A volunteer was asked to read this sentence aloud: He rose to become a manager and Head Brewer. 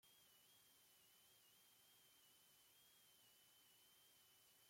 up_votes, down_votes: 0, 2